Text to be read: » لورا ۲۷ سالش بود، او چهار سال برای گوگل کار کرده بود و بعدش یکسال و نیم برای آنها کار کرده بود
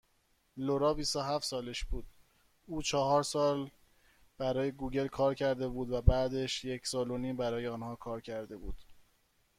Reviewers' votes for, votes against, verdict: 0, 2, rejected